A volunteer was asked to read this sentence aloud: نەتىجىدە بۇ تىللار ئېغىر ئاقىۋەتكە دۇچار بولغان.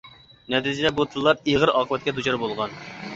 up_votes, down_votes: 1, 2